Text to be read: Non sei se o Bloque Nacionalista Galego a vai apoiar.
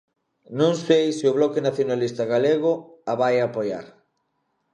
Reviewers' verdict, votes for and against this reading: accepted, 2, 0